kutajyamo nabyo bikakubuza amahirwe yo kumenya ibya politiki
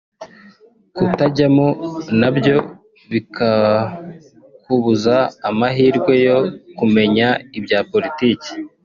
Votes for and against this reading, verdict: 1, 2, rejected